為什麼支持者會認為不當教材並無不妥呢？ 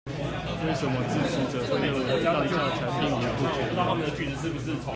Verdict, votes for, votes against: rejected, 1, 2